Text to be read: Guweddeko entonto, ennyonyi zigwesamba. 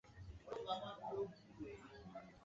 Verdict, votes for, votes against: rejected, 0, 2